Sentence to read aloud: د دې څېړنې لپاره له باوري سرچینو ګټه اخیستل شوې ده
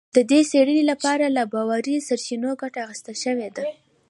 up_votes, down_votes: 2, 1